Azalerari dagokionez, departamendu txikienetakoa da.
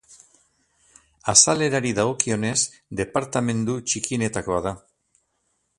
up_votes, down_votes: 2, 0